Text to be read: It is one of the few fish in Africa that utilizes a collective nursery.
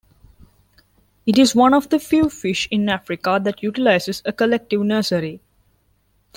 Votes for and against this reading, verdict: 3, 0, accepted